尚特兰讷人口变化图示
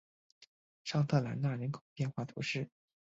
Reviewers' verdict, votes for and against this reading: rejected, 1, 2